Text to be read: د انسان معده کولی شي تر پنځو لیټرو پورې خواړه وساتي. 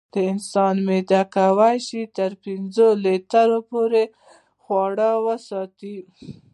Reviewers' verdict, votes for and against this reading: accepted, 2, 0